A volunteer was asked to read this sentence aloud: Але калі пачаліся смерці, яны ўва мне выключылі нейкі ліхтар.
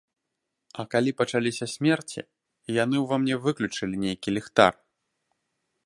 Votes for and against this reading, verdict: 0, 2, rejected